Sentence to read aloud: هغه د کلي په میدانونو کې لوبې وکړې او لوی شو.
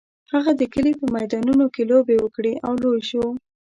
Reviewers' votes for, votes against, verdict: 2, 0, accepted